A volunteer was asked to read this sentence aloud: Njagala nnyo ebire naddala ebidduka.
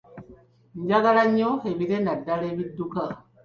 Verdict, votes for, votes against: accepted, 3, 1